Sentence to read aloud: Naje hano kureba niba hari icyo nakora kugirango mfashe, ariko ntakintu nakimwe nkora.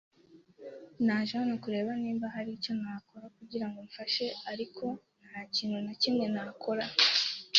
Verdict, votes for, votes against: accepted, 3, 1